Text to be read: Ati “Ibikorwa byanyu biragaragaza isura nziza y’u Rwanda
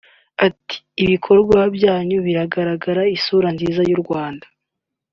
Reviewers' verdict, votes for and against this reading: rejected, 1, 2